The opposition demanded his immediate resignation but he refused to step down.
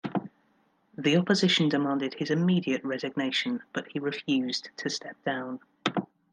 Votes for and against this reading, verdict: 2, 0, accepted